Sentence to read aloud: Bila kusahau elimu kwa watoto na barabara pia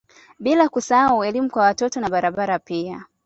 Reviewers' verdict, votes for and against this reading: accepted, 2, 0